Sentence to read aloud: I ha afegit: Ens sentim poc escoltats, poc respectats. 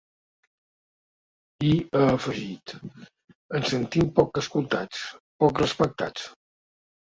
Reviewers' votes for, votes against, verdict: 1, 2, rejected